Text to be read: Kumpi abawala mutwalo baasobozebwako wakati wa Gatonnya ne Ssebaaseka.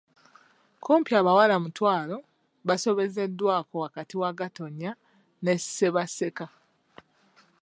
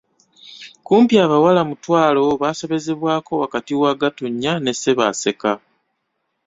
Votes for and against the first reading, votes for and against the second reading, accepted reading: 1, 2, 2, 0, second